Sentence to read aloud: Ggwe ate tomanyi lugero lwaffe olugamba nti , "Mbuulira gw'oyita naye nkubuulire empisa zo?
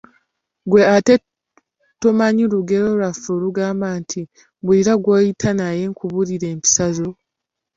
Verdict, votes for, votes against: accepted, 2, 0